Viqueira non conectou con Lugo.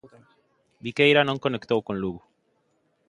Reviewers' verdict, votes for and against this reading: accepted, 2, 1